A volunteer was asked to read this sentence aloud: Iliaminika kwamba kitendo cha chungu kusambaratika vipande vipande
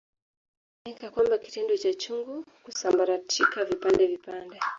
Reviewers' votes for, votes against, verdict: 1, 2, rejected